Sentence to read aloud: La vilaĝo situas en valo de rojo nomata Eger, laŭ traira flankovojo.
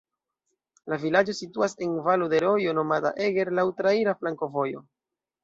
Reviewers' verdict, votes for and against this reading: rejected, 1, 2